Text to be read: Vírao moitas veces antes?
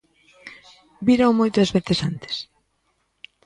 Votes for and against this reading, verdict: 1, 2, rejected